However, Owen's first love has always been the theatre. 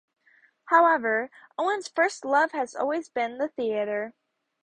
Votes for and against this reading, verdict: 4, 0, accepted